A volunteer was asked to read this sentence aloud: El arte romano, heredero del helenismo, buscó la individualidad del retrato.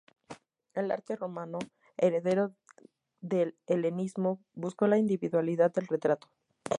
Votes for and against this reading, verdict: 0, 2, rejected